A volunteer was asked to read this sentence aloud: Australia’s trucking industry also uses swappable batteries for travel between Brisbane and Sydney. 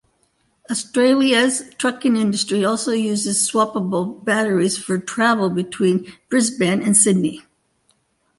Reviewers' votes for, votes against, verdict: 3, 0, accepted